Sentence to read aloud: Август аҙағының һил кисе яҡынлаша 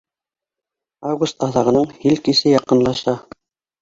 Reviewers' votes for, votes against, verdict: 2, 0, accepted